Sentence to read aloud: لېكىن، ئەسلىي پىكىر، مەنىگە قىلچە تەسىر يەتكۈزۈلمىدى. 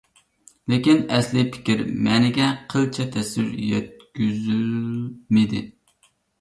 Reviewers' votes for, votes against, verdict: 1, 2, rejected